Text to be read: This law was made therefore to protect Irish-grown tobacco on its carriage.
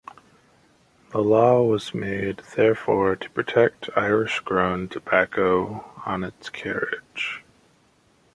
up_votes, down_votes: 0, 2